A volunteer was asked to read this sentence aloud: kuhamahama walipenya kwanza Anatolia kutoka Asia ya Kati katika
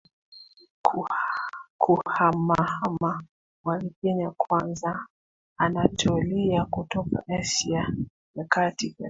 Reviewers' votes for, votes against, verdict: 1, 2, rejected